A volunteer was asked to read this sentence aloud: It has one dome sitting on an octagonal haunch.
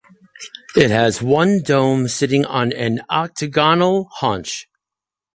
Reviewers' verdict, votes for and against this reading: accepted, 2, 0